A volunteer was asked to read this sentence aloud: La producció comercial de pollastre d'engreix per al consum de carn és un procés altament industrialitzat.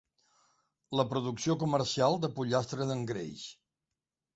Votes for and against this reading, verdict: 1, 2, rejected